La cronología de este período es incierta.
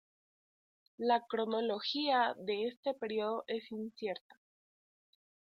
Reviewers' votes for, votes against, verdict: 2, 0, accepted